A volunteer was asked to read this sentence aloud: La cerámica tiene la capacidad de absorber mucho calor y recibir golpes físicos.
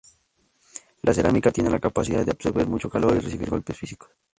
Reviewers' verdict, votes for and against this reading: rejected, 0, 2